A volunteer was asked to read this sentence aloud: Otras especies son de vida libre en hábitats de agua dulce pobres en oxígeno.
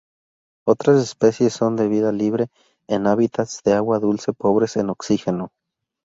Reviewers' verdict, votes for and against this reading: accepted, 4, 0